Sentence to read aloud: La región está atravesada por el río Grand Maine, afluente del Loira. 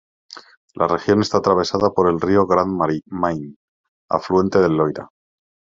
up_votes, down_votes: 0, 2